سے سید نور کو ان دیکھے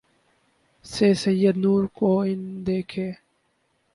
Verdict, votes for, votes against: rejected, 2, 2